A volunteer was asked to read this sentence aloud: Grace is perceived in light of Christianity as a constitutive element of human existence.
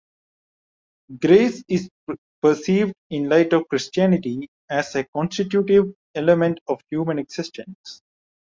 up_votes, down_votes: 1, 2